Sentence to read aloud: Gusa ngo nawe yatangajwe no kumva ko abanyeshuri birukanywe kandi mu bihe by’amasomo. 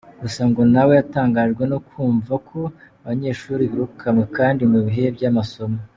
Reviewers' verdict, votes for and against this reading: accepted, 2, 0